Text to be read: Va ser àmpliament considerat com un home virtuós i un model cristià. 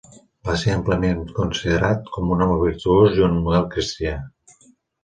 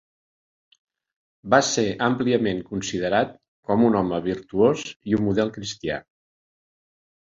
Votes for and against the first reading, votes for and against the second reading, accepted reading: 0, 2, 2, 0, second